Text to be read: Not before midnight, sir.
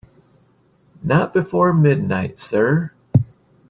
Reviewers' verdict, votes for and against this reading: accepted, 2, 0